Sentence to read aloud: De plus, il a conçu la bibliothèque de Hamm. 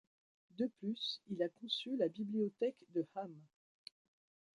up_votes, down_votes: 2, 1